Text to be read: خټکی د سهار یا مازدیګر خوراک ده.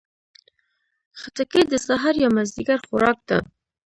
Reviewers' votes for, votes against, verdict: 1, 2, rejected